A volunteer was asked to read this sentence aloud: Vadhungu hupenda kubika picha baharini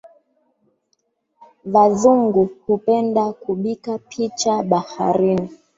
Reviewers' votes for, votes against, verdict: 0, 2, rejected